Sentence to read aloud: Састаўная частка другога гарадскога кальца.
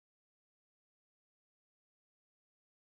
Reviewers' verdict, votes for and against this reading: rejected, 0, 3